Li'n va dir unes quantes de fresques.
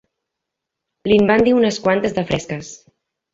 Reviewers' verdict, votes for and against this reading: accepted, 2, 1